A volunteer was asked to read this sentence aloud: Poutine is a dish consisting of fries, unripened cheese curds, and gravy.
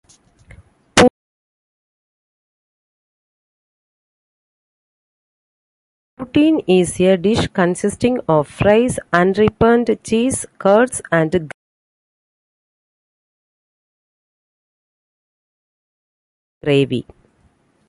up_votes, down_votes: 0, 2